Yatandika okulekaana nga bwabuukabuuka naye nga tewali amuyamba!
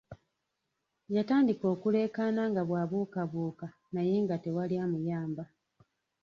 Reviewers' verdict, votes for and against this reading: rejected, 1, 2